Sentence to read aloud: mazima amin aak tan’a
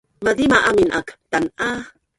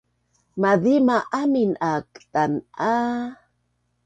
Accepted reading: second